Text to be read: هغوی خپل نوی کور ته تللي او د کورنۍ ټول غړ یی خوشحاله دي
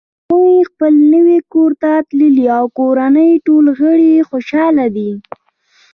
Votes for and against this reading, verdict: 1, 2, rejected